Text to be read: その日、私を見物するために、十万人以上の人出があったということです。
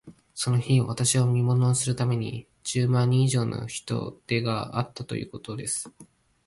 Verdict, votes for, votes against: rejected, 1, 2